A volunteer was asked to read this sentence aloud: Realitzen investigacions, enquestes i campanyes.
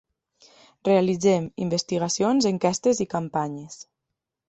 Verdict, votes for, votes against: rejected, 0, 2